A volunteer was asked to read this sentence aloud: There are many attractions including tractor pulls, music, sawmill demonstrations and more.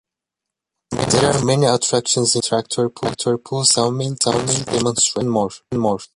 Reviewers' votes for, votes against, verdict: 0, 2, rejected